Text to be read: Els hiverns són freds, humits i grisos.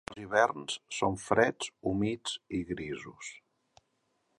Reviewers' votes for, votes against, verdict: 2, 3, rejected